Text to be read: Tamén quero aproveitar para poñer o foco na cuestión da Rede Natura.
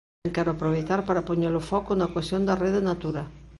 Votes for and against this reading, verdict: 0, 2, rejected